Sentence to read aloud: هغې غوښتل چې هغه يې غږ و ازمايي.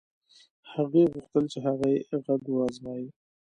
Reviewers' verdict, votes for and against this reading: rejected, 1, 2